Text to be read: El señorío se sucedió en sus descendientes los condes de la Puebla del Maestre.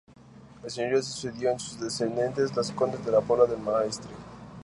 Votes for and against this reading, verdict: 0, 2, rejected